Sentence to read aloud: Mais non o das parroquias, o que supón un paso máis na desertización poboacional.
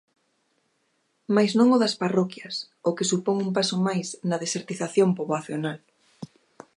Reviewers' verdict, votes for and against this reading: accepted, 2, 0